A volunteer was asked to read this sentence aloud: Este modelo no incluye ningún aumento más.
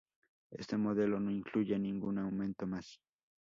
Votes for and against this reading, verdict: 4, 0, accepted